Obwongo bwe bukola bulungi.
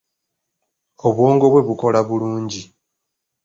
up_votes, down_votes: 2, 0